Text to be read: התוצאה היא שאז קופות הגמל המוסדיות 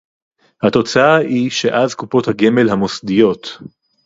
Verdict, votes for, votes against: accepted, 2, 0